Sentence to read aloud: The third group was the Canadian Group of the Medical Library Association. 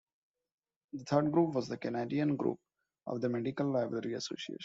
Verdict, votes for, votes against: rejected, 1, 2